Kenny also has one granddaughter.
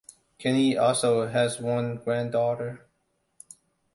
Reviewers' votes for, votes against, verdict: 2, 0, accepted